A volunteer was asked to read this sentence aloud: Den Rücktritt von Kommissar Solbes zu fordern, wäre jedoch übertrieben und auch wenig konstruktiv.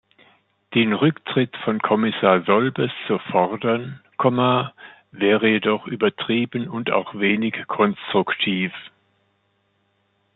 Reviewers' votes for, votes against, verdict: 1, 2, rejected